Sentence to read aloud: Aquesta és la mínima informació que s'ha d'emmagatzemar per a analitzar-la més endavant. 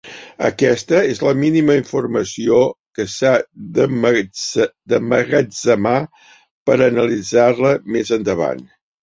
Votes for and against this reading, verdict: 0, 2, rejected